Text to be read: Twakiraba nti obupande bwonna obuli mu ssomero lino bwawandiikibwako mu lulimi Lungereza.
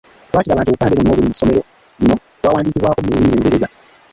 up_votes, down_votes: 0, 2